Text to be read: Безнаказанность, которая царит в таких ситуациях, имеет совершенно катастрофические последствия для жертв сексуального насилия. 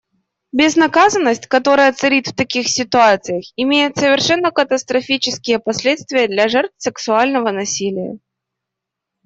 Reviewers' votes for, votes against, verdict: 2, 0, accepted